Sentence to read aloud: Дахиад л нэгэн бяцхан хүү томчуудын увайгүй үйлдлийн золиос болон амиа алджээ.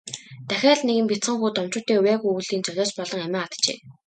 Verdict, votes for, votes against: accepted, 2, 0